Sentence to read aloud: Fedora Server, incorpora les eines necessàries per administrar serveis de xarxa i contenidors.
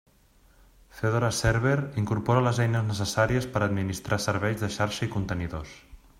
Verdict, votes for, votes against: accepted, 2, 0